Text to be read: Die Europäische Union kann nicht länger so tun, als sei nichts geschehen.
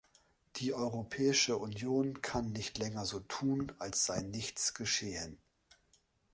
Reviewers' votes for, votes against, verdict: 2, 0, accepted